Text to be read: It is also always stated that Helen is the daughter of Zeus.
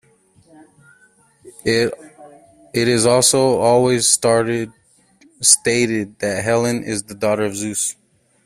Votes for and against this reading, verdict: 2, 1, accepted